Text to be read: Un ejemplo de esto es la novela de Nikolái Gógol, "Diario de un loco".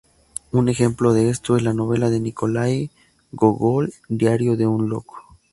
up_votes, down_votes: 2, 0